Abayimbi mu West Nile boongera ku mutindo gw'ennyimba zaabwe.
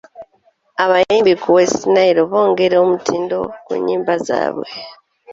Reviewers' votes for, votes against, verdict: 1, 2, rejected